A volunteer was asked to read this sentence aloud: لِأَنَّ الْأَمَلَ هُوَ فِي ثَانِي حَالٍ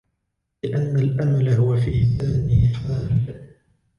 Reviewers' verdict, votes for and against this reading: rejected, 1, 2